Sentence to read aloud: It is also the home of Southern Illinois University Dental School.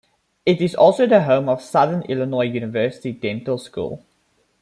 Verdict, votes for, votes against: accepted, 2, 0